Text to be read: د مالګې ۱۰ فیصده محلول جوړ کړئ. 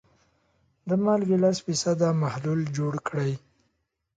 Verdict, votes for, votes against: rejected, 0, 2